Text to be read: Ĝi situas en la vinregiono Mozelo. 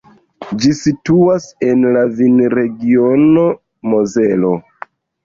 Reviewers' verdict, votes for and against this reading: accepted, 2, 0